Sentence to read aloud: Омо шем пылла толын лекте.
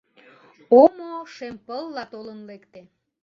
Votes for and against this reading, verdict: 2, 3, rejected